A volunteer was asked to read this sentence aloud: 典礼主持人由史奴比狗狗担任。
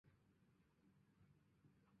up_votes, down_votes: 0, 2